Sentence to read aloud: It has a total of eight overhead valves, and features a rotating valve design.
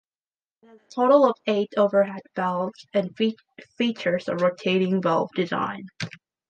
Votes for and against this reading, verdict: 1, 2, rejected